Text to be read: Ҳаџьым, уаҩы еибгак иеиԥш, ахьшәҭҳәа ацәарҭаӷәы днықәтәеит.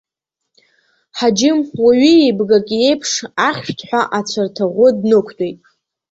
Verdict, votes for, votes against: accepted, 2, 0